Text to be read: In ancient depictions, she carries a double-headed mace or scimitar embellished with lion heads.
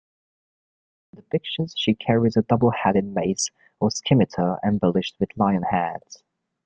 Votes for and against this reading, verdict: 2, 1, accepted